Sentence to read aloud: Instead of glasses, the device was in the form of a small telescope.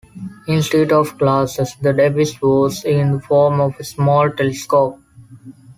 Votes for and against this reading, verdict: 1, 2, rejected